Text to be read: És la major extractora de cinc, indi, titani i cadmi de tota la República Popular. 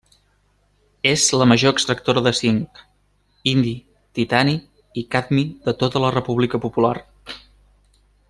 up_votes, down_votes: 3, 0